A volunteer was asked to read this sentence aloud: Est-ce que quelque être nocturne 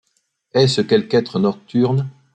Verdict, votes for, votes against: rejected, 0, 2